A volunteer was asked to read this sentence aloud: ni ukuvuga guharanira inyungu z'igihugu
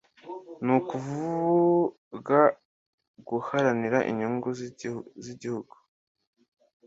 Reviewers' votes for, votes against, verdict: 1, 2, rejected